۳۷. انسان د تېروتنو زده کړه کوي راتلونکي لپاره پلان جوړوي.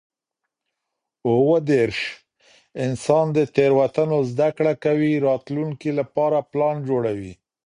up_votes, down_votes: 0, 2